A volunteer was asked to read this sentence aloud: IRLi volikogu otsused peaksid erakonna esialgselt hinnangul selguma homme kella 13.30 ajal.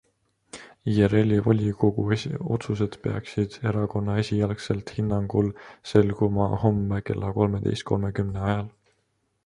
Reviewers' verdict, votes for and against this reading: rejected, 0, 2